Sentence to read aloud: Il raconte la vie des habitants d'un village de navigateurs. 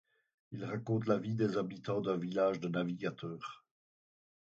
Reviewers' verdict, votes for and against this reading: accepted, 4, 0